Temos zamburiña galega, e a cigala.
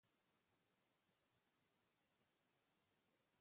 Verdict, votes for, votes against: rejected, 0, 2